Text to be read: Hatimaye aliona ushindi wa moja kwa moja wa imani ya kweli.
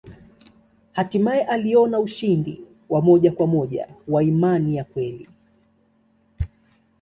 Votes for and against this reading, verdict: 2, 0, accepted